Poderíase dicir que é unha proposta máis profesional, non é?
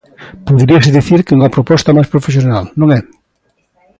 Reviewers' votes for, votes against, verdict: 2, 0, accepted